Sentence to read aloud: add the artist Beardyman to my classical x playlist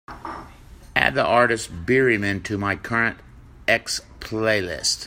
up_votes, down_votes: 0, 2